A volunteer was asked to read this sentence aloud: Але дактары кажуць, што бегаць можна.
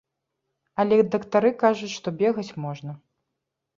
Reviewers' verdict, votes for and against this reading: accepted, 2, 0